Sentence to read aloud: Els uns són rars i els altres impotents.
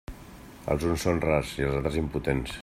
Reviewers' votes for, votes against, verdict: 2, 0, accepted